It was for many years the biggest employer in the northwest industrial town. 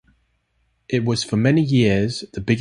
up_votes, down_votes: 0, 2